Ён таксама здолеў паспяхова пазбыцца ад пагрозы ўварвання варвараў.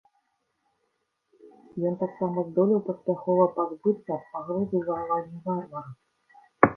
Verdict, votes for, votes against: rejected, 1, 2